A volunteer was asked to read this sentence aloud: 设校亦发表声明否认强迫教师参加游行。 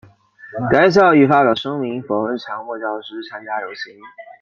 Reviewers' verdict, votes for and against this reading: accepted, 2, 0